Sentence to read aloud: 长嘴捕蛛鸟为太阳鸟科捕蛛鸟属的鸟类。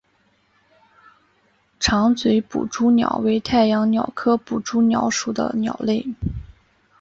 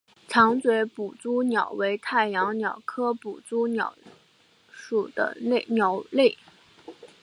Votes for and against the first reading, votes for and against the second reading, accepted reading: 2, 0, 1, 2, first